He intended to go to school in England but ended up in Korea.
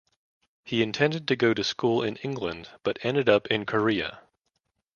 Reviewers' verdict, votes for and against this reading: accepted, 2, 0